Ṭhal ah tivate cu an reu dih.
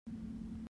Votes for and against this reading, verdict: 0, 2, rejected